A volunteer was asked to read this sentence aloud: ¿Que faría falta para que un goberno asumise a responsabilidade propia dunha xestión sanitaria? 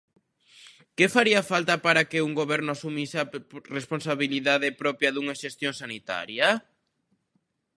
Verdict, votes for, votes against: rejected, 0, 2